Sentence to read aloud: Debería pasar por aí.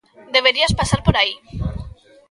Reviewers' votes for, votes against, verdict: 0, 2, rejected